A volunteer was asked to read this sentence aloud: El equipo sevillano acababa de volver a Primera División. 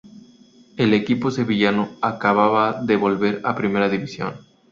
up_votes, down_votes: 2, 0